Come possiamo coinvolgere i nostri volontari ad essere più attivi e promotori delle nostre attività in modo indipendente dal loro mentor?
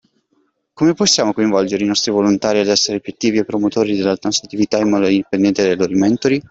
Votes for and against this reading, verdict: 0, 2, rejected